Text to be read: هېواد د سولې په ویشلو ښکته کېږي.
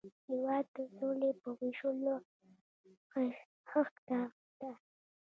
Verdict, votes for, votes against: rejected, 1, 2